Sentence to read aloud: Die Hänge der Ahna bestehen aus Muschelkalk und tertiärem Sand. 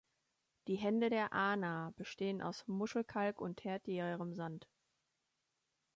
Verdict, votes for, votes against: rejected, 0, 2